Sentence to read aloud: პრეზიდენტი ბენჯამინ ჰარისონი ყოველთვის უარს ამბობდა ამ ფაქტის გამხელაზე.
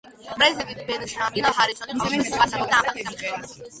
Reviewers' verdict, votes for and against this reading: rejected, 0, 2